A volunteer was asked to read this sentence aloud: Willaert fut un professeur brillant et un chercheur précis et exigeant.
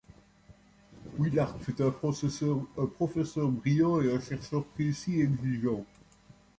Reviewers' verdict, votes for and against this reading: rejected, 0, 2